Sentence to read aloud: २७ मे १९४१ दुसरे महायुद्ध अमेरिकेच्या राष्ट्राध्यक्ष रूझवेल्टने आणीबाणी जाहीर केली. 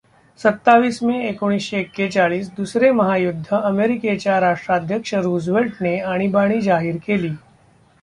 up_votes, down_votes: 0, 2